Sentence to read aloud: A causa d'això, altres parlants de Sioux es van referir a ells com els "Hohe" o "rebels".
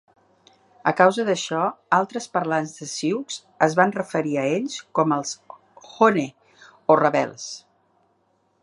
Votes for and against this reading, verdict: 1, 2, rejected